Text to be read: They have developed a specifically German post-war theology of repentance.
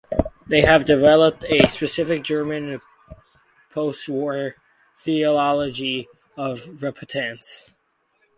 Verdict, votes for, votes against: rejected, 2, 4